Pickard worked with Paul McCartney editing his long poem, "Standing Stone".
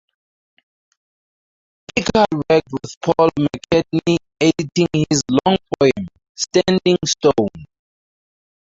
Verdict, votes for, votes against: rejected, 0, 4